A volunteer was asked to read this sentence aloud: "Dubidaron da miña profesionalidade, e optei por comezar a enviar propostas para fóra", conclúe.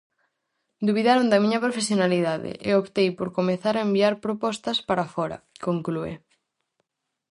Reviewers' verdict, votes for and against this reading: rejected, 2, 2